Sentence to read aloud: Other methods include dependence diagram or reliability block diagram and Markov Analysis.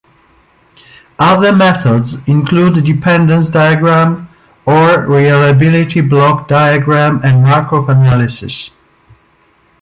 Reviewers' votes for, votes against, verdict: 2, 1, accepted